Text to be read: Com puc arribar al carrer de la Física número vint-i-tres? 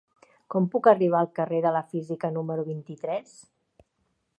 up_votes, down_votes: 4, 1